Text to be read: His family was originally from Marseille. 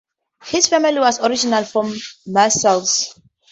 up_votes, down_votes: 0, 2